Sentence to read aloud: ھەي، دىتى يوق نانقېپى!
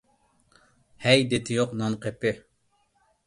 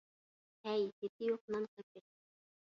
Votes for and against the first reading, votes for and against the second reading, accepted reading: 2, 0, 1, 2, first